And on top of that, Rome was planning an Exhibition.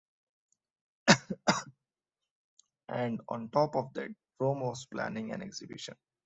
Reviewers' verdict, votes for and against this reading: rejected, 1, 2